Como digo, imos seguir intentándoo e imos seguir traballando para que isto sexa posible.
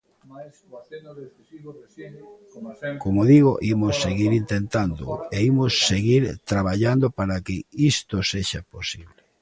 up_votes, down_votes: 1, 2